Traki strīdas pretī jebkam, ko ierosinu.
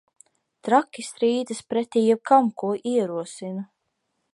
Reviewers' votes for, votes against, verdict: 2, 0, accepted